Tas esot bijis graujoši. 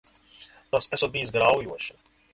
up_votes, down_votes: 2, 0